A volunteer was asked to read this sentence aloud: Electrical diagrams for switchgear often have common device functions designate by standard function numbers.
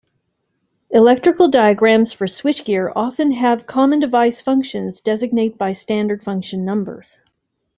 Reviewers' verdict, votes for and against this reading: accepted, 2, 0